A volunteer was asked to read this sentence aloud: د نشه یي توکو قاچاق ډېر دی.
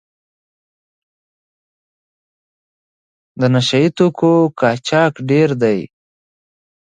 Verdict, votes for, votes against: rejected, 1, 2